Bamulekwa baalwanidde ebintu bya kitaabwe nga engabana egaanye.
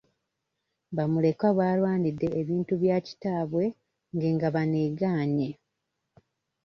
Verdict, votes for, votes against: rejected, 0, 2